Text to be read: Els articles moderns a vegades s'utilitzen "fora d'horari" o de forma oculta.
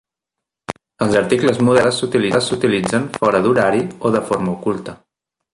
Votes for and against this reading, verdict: 0, 2, rejected